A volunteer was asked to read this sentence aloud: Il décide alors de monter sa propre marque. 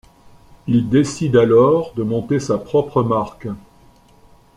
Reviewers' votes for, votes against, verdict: 2, 0, accepted